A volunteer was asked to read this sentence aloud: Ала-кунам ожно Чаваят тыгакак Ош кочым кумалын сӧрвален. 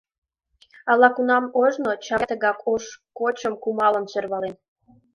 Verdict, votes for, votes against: rejected, 1, 5